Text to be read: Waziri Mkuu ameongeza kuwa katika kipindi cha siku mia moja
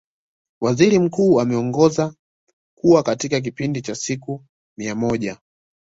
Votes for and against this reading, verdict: 2, 1, accepted